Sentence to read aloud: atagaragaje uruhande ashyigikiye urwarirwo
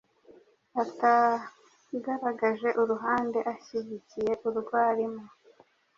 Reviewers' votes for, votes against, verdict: 0, 2, rejected